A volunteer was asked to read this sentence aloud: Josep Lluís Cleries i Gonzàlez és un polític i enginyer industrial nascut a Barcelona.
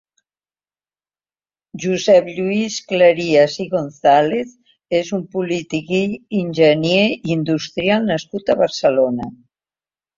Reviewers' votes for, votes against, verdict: 2, 0, accepted